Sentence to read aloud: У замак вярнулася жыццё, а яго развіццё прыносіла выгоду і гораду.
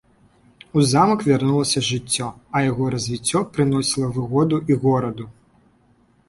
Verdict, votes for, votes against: accepted, 2, 0